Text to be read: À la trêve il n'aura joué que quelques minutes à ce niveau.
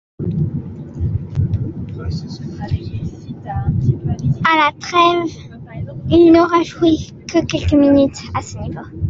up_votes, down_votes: 1, 2